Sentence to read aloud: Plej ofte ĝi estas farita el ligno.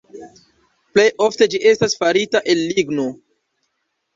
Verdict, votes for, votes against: rejected, 1, 2